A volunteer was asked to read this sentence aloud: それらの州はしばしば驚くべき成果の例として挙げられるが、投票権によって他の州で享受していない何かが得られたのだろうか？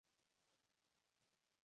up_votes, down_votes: 0, 2